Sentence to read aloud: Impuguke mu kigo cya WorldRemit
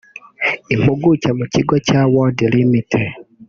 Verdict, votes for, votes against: accepted, 2, 0